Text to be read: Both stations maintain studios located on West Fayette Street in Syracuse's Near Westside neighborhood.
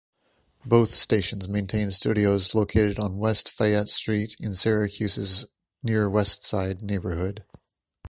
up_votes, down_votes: 2, 0